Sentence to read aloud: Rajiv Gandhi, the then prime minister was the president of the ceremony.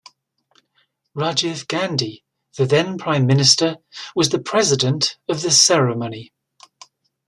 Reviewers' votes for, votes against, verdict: 2, 0, accepted